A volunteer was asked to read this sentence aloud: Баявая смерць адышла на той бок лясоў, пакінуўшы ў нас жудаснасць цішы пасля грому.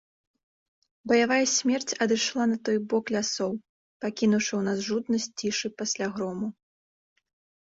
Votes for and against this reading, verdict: 0, 2, rejected